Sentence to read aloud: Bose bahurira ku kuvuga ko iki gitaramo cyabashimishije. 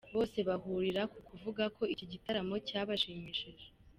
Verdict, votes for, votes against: accepted, 2, 0